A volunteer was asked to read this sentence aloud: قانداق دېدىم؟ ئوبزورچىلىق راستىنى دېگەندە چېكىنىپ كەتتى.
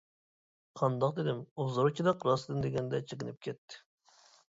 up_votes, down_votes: 0, 2